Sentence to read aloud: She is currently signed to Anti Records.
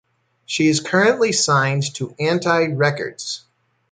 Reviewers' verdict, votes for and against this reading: accepted, 2, 0